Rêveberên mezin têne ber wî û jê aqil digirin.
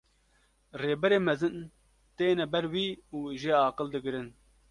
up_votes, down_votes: 0, 2